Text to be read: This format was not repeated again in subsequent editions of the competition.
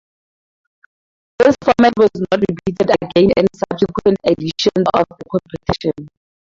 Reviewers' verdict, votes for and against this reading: accepted, 4, 0